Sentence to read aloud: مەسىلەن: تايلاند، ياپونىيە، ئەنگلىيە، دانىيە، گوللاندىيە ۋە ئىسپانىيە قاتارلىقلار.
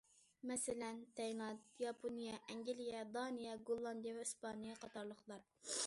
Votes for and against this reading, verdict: 2, 1, accepted